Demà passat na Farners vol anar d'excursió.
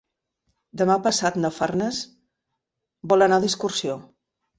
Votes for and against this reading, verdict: 1, 2, rejected